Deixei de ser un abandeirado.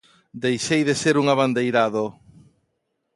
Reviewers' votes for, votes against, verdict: 2, 0, accepted